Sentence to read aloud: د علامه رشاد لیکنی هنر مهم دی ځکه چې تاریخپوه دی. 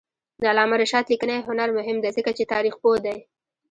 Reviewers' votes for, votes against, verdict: 0, 2, rejected